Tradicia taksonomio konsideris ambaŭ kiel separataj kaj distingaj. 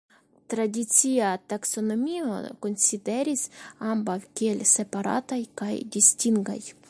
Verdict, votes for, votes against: rejected, 1, 2